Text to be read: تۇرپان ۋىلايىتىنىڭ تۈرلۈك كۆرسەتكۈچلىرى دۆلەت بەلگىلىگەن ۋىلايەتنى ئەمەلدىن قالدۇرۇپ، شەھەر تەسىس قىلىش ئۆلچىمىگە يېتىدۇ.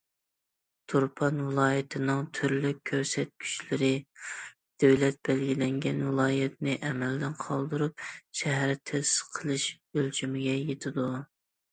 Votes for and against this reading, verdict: 1, 2, rejected